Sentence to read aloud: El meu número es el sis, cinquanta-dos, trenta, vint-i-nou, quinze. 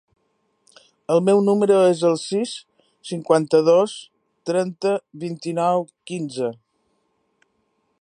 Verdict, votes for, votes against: accepted, 3, 0